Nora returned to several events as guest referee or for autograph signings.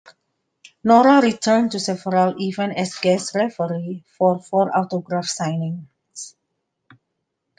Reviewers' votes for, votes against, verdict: 0, 2, rejected